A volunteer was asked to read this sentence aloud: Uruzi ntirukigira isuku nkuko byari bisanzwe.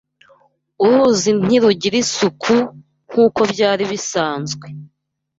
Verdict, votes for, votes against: rejected, 1, 2